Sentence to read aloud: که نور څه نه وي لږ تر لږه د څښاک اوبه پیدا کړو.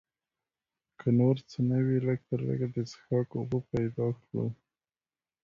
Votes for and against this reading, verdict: 2, 0, accepted